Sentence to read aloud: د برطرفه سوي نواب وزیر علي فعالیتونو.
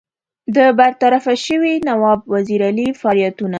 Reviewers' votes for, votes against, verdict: 2, 1, accepted